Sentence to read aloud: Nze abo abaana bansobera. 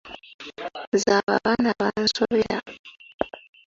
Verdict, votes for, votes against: accepted, 2, 1